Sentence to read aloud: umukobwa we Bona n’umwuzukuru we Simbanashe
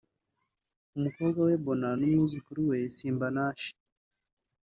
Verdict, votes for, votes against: rejected, 1, 2